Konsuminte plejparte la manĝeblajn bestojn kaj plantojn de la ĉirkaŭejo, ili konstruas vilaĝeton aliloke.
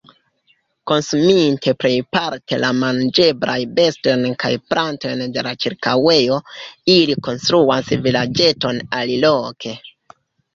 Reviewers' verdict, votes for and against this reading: rejected, 0, 2